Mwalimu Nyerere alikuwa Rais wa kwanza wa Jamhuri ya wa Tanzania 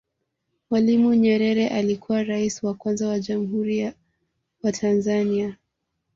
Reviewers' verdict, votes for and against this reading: accepted, 2, 0